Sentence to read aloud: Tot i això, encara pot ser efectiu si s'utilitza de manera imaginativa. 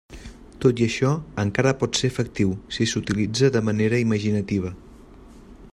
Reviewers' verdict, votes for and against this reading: accepted, 3, 0